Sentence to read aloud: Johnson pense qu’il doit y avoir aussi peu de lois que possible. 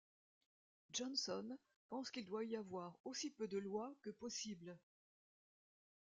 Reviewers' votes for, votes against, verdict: 1, 2, rejected